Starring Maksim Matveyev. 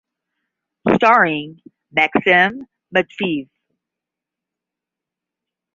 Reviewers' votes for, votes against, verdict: 0, 10, rejected